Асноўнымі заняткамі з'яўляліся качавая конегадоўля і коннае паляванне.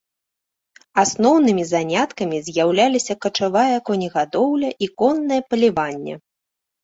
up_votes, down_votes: 0, 2